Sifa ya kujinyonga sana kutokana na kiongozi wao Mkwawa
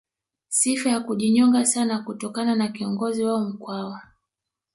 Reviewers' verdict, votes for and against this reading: accepted, 2, 1